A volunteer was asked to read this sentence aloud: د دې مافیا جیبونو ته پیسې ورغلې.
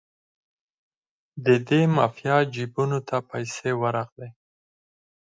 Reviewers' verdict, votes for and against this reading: accepted, 4, 0